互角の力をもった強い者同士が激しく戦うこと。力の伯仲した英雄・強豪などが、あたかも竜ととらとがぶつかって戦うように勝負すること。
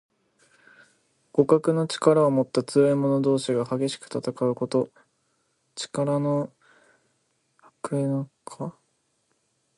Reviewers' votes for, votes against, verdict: 2, 1, accepted